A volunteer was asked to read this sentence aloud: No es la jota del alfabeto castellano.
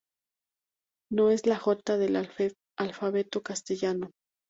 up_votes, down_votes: 2, 2